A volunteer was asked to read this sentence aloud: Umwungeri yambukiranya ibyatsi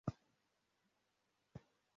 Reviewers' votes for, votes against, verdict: 0, 2, rejected